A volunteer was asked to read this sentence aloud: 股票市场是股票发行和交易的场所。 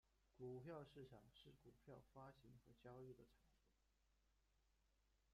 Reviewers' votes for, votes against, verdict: 0, 2, rejected